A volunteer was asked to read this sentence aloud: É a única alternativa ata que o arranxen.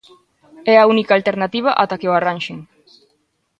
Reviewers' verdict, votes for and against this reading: accepted, 2, 0